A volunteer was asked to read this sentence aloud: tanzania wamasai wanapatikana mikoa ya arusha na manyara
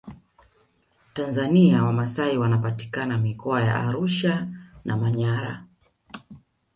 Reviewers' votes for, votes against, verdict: 1, 2, rejected